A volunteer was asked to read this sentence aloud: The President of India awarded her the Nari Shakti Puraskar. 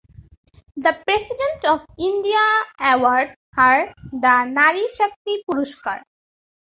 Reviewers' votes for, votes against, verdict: 1, 2, rejected